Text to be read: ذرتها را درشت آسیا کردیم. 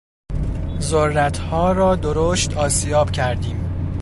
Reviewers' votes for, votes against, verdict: 0, 2, rejected